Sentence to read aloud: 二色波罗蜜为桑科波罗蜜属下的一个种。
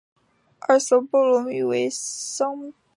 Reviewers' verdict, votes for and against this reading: rejected, 5, 6